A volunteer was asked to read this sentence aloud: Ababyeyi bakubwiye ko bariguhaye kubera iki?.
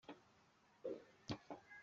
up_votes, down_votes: 0, 3